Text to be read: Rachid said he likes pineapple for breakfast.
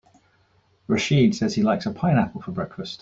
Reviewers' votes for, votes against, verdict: 0, 2, rejected